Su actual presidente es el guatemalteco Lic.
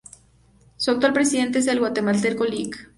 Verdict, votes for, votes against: accepted, 2, 0